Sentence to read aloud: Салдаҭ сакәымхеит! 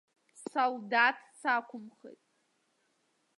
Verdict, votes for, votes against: rejected, 0, 2